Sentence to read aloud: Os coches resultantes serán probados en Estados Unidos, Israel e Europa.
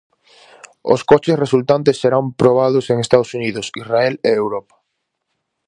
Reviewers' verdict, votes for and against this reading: accepted, 4, 0